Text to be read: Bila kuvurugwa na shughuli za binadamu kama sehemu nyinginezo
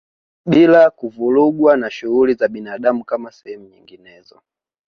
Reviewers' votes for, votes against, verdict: 1, 2, rejected